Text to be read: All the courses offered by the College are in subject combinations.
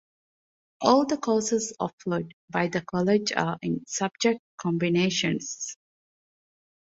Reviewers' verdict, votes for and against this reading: accepted, 2, 0